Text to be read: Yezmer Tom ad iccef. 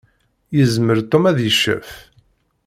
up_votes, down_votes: 2, 0